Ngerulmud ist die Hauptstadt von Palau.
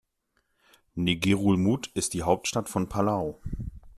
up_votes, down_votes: 2, 0